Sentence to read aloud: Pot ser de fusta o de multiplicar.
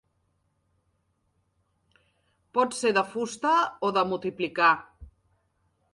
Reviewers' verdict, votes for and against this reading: accepted, 2, 0